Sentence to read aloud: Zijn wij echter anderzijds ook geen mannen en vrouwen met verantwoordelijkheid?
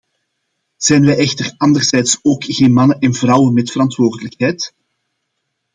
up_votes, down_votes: 2, 0